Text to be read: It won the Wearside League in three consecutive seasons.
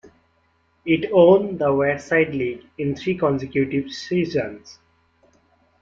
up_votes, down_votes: 0, 2